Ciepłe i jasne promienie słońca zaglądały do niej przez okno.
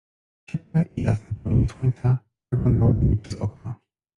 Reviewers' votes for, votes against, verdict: 0, 2, rejected